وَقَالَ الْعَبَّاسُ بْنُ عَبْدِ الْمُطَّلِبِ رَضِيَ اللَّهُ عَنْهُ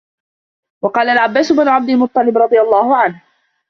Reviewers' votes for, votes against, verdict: 0, 2, rejected